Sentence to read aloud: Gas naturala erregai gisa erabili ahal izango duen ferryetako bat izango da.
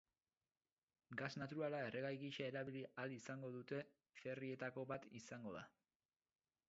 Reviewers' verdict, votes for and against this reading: rejected, 0, 6